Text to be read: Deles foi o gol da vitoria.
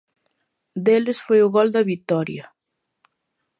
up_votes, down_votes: 2, 0